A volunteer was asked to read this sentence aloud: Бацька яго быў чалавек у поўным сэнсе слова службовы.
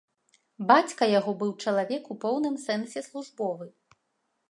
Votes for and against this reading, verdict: 1, 2, rejected